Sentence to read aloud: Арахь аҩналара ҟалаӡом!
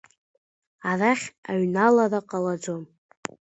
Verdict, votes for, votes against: accepted, 2, 0